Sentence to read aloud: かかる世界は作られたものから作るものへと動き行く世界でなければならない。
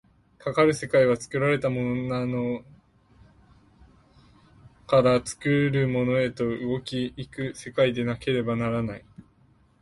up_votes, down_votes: 0, 2